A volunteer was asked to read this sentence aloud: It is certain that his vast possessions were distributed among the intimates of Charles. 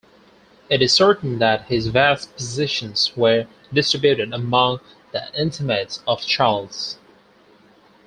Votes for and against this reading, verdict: 4, 2, accepted